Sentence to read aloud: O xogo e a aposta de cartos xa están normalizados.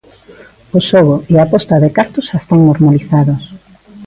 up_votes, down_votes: 0, 2